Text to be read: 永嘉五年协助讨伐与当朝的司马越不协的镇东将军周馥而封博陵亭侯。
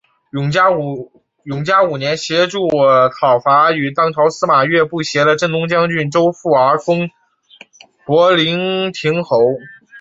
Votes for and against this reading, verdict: 1, 3, rejected